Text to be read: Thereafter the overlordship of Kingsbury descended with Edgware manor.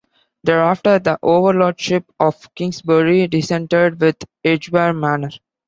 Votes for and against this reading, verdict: 2, 0, accepted